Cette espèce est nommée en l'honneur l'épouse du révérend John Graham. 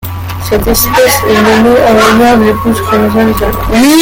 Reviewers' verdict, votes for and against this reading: rejected, 0, 2